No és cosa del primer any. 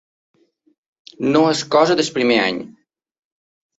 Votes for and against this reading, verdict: 1, 2, rejected